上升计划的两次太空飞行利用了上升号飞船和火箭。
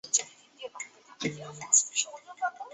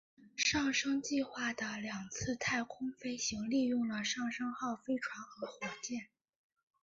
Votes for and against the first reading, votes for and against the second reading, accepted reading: 0, 2, 2, 1, second